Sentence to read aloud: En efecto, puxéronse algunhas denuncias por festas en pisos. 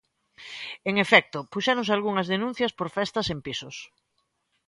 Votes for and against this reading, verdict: 2, 0, accepted